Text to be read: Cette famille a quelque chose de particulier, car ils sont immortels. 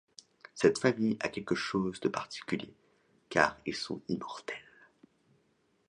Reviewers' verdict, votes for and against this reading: accepted, 2, 0